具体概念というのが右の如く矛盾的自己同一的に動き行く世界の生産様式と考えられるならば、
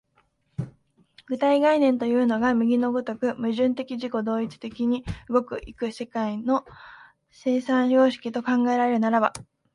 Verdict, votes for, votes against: rejected, 0, 2